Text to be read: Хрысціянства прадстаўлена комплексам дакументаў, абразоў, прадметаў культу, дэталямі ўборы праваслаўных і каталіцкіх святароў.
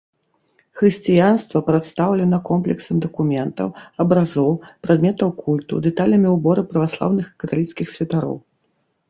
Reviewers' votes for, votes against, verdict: 2, 0, accepted